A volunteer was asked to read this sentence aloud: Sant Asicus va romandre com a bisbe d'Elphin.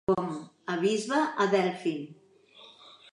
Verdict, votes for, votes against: rejected, 0, 2